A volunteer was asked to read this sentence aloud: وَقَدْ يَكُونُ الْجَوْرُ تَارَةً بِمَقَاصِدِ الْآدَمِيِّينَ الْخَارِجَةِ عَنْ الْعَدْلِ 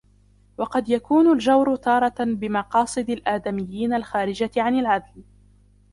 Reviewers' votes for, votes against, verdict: 0, 2, rejected